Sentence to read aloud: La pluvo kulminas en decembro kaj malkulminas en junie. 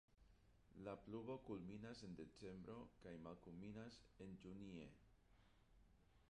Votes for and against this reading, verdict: 0, 2, rejected